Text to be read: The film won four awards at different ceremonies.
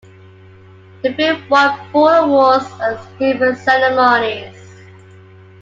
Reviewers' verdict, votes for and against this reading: rejected, 1, 3